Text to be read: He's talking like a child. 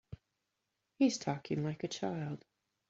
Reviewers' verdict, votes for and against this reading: accepted, 2, 0